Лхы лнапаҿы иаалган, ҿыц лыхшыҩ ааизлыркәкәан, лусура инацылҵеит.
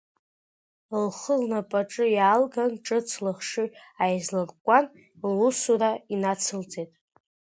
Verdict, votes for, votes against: accepted, 2, 0